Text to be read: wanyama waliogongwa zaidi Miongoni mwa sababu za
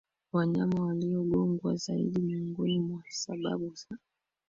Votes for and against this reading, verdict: 2, 0, accepted